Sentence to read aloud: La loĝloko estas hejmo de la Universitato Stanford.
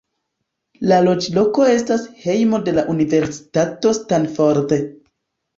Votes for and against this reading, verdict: 2, 0, accepted